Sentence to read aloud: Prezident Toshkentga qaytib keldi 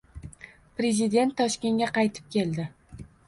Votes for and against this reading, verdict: 2, 0, accepted